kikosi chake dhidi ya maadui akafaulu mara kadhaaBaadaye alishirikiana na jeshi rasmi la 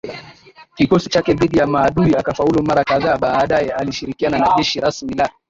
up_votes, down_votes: 2, 1